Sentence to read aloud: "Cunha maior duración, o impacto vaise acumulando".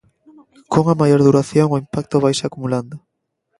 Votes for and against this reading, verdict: 2, 0, accepted